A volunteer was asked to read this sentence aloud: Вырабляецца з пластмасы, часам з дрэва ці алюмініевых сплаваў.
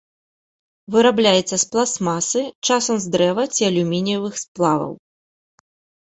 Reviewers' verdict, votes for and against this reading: accepted, 2, 0